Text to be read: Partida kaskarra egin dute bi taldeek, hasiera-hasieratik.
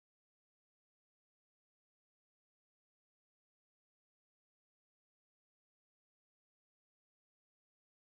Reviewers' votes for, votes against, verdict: 0, 11, rejected